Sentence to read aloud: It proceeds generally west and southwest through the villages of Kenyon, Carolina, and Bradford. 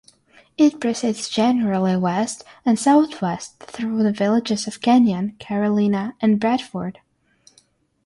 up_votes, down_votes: 6, 0